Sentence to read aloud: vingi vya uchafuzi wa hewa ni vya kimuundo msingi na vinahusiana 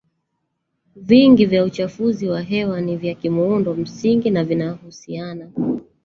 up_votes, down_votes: 2, 1